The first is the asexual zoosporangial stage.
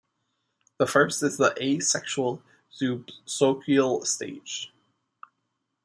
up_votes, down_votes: 0, 2